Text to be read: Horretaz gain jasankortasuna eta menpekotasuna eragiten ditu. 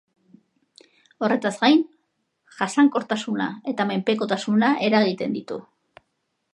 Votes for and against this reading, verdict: 2, 0, accepted